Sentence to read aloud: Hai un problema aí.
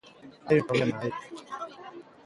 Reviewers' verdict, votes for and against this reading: accepted, 2, 1